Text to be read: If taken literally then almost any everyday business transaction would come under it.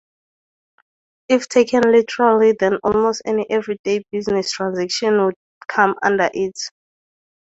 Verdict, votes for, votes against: accepted, 2, 0